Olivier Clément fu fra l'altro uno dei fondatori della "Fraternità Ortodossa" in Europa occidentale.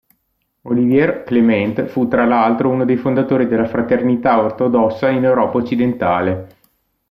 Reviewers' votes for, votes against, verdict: 0, 2, rejected